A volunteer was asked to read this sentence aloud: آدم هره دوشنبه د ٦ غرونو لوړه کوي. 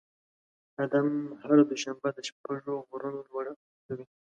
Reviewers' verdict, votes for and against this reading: rejected, 0, 2